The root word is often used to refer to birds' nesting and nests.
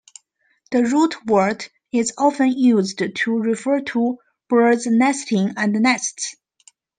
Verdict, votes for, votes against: accepted, 2, 1